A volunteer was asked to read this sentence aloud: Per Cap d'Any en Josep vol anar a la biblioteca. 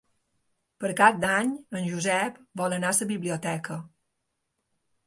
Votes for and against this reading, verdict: 1, 2, rejected